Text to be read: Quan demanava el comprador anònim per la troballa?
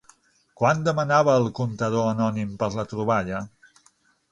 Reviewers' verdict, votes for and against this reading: rejected, 0, 6